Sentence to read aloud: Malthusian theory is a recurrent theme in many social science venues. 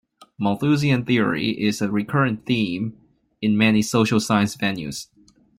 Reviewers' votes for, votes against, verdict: 2, 0, accepted